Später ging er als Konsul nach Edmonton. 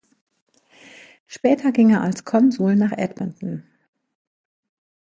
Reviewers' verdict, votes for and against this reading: accepted, 2, 0